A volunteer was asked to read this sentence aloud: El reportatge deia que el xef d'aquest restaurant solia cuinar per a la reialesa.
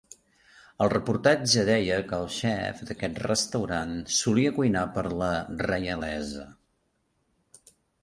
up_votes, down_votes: 0, 2